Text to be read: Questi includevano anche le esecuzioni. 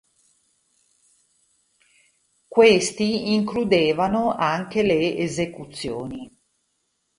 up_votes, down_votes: 2, 0